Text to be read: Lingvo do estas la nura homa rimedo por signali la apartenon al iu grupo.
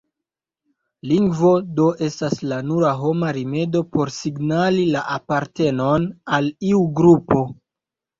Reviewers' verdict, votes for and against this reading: accepted, 2, 1